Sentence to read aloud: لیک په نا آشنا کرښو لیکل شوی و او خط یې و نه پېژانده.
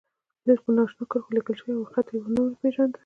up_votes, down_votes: 1, 2